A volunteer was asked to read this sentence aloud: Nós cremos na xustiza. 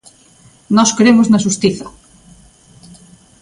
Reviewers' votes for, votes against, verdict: 2, 0, accepted